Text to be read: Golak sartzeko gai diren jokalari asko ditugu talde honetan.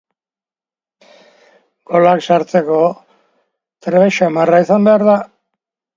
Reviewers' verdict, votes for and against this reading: rejected, 1, 2